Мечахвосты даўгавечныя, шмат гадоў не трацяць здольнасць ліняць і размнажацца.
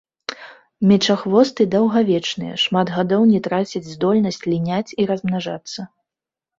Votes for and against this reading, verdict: 3, 0, accepted